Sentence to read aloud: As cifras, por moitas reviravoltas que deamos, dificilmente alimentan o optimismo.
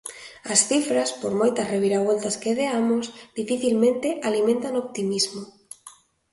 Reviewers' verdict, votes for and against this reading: accepted, 2, 0